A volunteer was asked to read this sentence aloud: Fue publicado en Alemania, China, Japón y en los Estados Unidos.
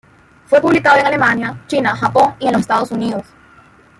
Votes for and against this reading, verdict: 2, 1, accepted